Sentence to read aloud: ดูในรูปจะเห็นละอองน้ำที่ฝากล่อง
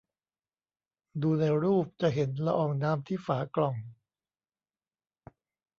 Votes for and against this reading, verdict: 2, 0, accepted